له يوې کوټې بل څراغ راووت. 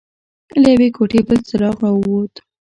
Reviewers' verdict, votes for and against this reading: accepted, 2, 0